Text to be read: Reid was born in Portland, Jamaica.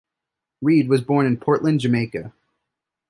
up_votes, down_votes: 2, 0